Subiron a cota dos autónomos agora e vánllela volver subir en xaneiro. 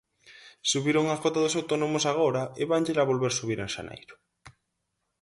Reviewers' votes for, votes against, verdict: 4, 0, accepted